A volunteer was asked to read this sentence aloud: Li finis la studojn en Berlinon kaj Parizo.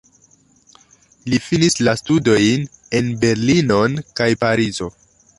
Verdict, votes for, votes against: accepted, 2, 0